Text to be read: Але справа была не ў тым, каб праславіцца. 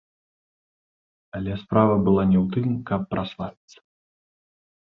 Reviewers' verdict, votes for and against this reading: rejected, 1, 3